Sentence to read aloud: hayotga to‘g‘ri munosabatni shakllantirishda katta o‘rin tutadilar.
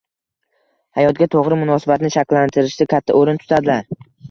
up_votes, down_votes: 1, 2